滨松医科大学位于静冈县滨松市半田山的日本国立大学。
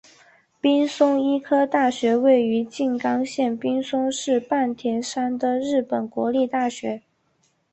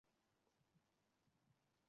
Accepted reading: first